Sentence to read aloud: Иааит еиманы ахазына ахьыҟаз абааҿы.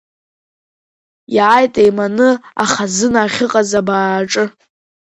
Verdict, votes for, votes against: accepted, 2, 1